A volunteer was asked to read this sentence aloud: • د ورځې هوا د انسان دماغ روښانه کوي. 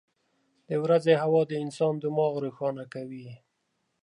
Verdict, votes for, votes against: accepted, 2, 0